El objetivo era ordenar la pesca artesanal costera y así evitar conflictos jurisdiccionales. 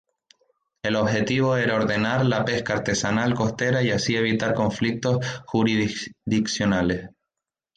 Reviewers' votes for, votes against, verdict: 0, 2, rejected